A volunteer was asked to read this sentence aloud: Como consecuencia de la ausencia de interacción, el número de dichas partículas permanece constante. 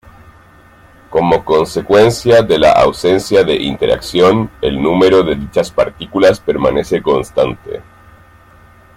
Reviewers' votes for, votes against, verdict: 2, 0, accepted